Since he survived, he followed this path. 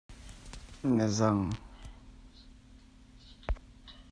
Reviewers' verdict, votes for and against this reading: rejected, 1, 2